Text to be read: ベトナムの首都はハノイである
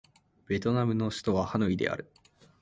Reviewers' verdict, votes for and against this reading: accepted, 3, 0